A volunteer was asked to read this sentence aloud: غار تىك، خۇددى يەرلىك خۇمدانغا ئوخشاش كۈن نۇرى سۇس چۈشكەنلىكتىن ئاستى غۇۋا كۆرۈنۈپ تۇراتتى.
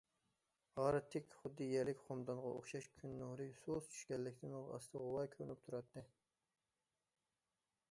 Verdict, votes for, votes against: accepted, 2, 0